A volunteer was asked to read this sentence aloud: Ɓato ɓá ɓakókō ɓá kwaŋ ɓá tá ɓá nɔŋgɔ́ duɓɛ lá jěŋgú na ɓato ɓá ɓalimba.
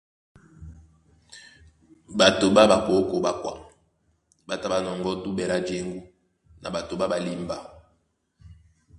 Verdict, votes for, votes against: accepted, 2, 0